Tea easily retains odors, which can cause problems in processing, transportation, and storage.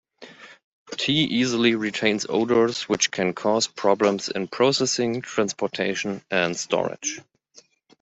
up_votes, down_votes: 1, 2